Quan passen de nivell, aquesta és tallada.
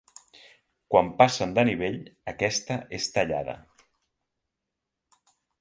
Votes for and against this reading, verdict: 2, 0, accepted